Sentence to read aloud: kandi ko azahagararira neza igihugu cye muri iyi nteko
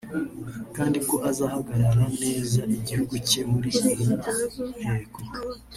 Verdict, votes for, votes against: rejected, 2, 4